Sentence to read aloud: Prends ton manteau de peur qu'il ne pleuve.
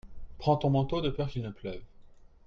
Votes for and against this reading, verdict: 2, 0, accepted